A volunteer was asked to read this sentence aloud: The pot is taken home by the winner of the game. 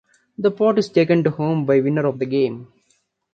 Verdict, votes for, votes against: rejected, 0, 2